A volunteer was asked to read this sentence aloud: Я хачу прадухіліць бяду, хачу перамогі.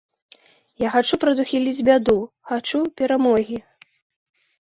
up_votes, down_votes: 2, 0